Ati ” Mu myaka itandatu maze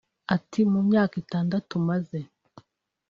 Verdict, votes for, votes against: accepted, 3, 0